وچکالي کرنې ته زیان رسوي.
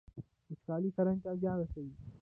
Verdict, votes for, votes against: accepted, 2, 1